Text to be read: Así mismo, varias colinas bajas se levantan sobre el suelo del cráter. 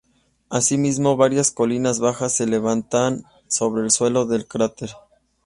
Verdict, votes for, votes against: accepted, 2, 0